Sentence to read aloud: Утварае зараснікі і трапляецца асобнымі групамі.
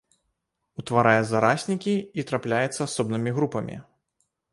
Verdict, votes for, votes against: rejected, 1, 2